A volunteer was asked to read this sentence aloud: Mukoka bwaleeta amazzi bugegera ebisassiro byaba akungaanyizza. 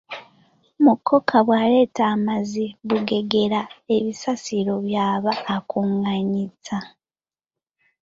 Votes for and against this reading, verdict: 1, 2, rejected